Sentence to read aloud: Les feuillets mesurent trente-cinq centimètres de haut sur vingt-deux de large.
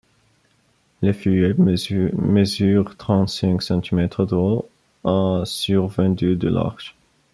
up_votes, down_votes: 0, 2